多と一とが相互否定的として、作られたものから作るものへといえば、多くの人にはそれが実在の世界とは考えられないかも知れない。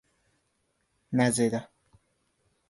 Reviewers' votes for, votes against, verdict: 0, 2, rejected